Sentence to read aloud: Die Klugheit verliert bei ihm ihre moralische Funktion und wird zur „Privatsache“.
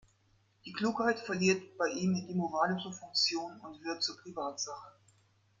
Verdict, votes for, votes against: accepted, 3, 1